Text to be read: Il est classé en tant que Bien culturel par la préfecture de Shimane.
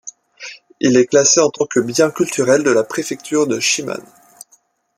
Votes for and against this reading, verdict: 1, 2, rejected